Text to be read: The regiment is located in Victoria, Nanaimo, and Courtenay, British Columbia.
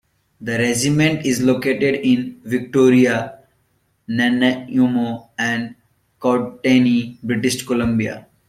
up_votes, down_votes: 2, 1